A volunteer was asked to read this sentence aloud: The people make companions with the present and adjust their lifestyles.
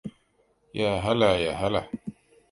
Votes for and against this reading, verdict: 1, 2, rejected